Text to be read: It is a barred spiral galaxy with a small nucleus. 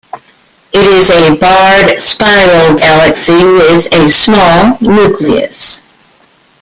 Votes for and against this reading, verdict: 1, 2, rejected